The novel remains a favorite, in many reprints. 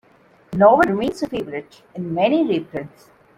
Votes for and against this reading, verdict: 0, 2, rejected